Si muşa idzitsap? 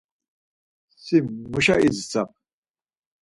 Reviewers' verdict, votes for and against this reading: accepted, 4, 0